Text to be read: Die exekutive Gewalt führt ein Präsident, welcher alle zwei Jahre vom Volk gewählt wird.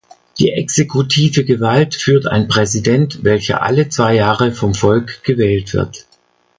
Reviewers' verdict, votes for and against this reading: accepted, 2, 0